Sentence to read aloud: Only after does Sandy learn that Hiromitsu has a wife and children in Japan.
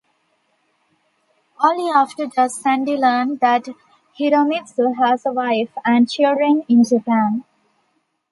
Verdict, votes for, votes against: accepted, 2, 0